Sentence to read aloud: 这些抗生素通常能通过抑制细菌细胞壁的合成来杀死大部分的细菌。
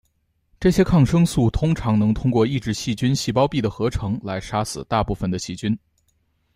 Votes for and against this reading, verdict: 2, 0, accepted